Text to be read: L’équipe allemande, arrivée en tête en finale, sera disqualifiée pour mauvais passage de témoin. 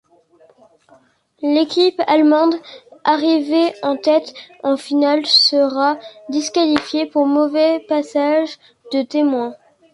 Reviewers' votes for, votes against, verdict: 2, 0, accepted